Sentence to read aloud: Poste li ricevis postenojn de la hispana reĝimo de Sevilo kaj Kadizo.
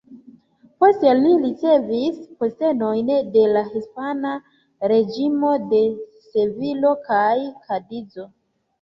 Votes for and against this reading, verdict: 2, 3, rejected